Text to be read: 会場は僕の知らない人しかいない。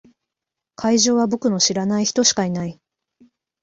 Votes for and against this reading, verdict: 2, 0, accepted